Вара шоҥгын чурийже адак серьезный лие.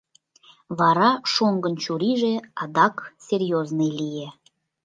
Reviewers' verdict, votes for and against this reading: accepted, 2, 0